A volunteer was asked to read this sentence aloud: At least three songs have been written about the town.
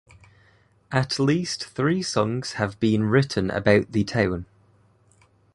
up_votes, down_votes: 2, 0